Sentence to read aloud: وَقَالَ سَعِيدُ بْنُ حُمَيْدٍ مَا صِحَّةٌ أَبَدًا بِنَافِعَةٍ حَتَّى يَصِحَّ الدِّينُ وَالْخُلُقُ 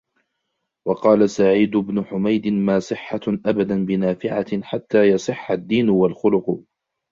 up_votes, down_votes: 2, 0